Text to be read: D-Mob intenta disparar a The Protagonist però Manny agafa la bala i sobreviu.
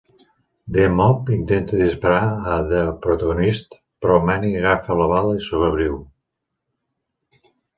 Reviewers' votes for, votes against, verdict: 0, 2, rejected